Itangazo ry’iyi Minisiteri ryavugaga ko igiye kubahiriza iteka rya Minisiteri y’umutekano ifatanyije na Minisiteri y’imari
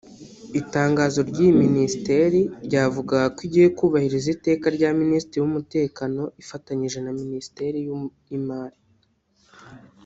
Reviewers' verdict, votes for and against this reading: rejected, 0, 2